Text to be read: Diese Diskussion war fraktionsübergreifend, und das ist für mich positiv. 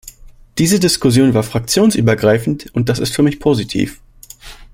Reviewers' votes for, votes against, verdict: 2, 0, accepted